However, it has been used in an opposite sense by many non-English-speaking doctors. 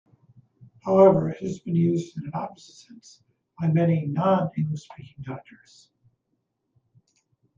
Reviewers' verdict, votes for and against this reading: rejected, 0, 2